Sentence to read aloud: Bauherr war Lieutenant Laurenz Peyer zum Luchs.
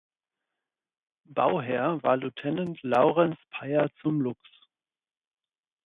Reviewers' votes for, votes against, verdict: 2, 4, rejected